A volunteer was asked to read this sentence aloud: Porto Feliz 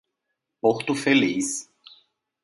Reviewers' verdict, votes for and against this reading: accepted, 2, 0